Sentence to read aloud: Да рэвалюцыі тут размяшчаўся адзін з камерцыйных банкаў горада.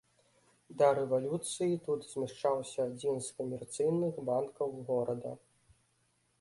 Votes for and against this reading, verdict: 0, 2, rejected